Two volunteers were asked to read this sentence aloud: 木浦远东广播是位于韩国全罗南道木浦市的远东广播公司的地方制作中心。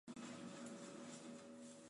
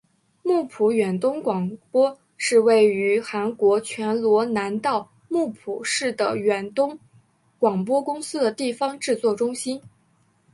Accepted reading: second